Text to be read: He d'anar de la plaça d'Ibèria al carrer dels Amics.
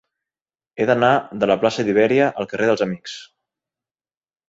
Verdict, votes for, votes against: accepted, 3, 0